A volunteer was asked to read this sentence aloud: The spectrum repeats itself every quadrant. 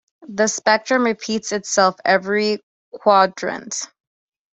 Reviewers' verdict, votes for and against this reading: accepted, 2, 0